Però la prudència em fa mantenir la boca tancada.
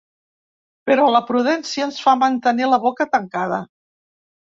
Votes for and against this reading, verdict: 1, 2, rejected